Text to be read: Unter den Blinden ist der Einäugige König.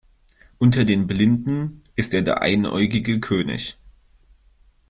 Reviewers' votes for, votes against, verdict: 0, 2, rejected